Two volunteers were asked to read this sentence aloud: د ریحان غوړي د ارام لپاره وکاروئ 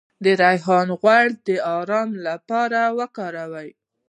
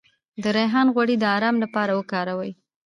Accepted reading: second